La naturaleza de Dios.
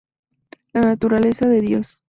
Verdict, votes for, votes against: accepted, 2, 0